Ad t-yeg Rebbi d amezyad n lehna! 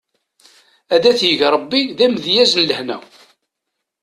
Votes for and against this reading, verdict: 1, 2, rejected